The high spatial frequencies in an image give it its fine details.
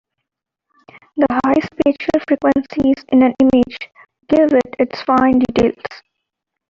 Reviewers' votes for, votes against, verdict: 2, 0, accepted